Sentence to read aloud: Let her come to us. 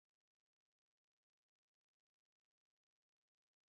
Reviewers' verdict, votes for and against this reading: rejected, 0, 4